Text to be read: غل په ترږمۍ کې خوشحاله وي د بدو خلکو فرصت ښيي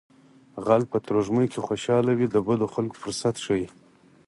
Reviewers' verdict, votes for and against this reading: rejected, 2, 4